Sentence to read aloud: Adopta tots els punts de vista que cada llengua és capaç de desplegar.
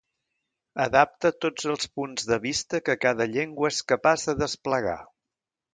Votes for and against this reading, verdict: 0, 2, rejected